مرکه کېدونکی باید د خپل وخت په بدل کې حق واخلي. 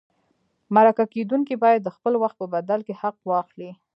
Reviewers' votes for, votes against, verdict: 0, 2, rejected